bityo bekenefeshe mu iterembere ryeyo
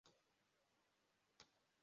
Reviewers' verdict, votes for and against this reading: rejected, 0, 2